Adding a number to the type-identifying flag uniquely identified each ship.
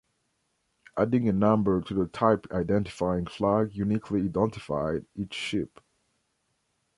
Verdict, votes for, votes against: accepted, 2, 1